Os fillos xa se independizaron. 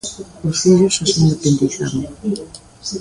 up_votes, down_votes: 0, 2